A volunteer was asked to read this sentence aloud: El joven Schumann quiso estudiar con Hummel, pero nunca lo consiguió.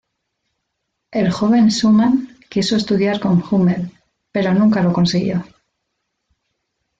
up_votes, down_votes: 1, 2